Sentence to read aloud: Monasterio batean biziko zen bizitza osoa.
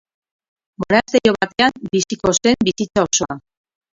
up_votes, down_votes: 0, 4